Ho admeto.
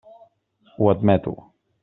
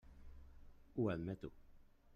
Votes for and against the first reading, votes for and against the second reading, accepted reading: 3, 0, 0, 2, first